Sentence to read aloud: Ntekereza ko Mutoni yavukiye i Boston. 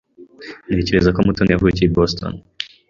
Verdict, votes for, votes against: accepted, 2, 0